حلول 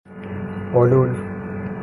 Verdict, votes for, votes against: accepted, 3, 0